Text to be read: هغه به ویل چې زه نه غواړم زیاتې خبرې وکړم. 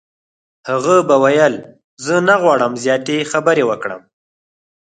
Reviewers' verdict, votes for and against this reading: rejected, 0, 4